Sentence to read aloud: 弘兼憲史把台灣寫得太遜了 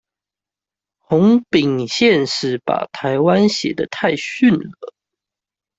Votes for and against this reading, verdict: 1, 2, rejected